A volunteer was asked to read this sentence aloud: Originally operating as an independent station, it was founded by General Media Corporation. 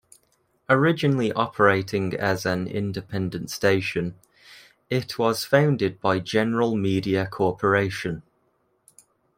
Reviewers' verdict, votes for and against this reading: accepted, 2, 0